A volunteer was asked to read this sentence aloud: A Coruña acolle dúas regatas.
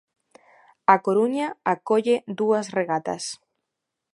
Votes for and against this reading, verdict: 2, 0, accepted